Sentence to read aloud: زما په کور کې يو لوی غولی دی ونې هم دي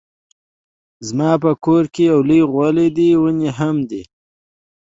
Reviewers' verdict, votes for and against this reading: accepted, 2, 0